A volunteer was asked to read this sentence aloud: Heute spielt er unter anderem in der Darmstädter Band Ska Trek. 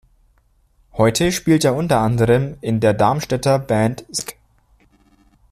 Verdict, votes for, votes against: rejected, 0, 2